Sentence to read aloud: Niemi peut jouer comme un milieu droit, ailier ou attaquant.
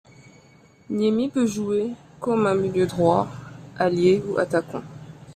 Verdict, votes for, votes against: accepted, 2, 1